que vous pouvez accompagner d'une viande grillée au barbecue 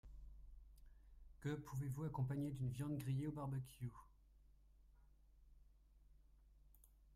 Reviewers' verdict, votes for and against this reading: rejected, 0, 2